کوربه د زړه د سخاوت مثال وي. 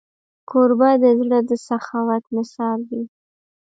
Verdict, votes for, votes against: rejected, 1, 2